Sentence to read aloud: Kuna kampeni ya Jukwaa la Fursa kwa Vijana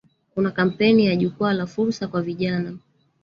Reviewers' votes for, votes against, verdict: 0, 2, rejected